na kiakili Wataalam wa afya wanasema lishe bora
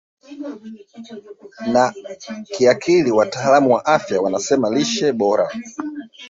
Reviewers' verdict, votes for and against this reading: rejected, 0, 2